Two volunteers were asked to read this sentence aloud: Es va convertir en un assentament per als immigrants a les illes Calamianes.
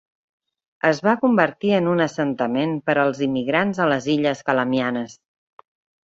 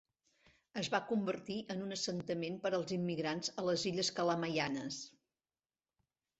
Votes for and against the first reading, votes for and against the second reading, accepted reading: 3, 0, 1, 2, first